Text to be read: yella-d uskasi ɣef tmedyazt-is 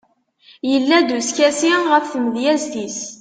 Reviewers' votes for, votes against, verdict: 2, 0, accepted